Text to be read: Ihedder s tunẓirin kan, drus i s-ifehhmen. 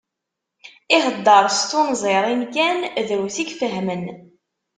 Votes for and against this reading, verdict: 0, 2, rejected